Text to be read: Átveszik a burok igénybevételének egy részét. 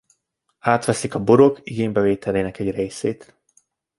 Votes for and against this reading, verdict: 2, 0, accepted